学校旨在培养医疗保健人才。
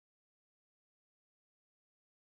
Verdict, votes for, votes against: rejected, 1, 2